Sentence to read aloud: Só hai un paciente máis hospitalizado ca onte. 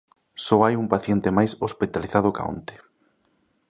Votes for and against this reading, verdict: 2, 0, accepted